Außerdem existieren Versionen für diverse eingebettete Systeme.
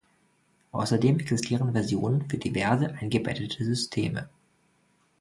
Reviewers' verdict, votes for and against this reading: rejected, 1, 2